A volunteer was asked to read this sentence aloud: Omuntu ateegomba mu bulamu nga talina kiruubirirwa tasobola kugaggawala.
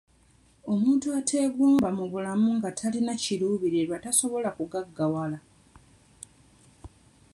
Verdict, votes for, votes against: accepted, 2, 0